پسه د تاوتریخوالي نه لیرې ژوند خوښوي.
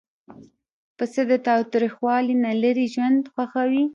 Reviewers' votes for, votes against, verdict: 0, 2, rejected